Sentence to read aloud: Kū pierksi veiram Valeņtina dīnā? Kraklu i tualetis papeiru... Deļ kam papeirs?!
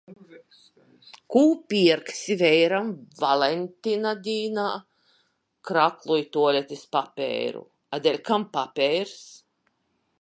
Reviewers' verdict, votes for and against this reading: rejected, 1, 2